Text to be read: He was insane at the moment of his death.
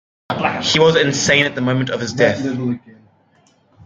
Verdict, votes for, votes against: rejected, 1, 2